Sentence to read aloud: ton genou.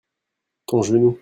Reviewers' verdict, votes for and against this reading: accepted, 2, 0